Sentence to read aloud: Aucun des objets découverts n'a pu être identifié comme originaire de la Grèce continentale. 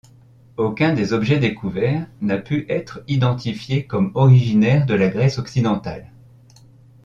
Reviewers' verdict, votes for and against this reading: rejected, 0, 2